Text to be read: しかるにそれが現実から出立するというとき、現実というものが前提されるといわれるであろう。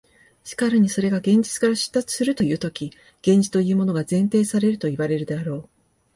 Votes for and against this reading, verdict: 2, 0, accepted